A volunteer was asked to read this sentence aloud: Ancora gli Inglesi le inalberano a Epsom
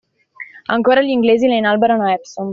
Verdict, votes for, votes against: rejected, 1, 2